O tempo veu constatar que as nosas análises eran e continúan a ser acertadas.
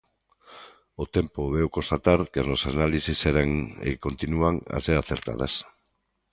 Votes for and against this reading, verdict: 2, 1, accepted